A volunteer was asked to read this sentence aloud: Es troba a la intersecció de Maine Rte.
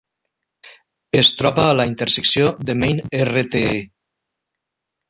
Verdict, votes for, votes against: rejected, 0, 2